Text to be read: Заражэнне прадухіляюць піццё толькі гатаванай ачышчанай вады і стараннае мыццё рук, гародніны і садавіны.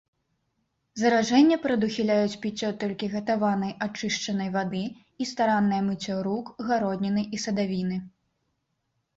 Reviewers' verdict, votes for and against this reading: rejected, 1, 2